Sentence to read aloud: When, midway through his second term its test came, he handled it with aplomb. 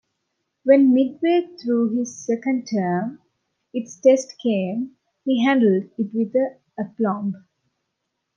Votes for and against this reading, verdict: 1, 2, rejected